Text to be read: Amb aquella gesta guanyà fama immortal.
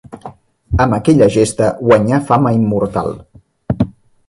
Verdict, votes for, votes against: accepted, 3, 0